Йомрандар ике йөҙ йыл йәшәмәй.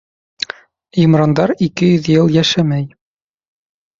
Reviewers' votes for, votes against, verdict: 0, 2, rejected